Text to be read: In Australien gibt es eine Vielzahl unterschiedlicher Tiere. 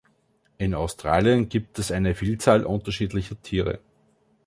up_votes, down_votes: 2, 0